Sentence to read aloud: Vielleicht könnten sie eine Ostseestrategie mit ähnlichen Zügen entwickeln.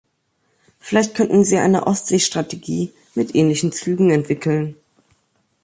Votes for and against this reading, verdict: 2, 0, accepted